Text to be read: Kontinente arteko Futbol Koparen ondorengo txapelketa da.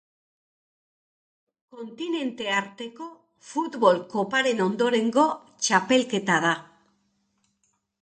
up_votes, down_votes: 2, 1